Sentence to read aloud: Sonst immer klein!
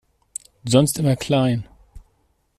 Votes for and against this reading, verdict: 2, 0, accepted